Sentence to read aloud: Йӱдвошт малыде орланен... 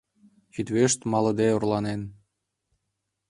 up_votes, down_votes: 1, 2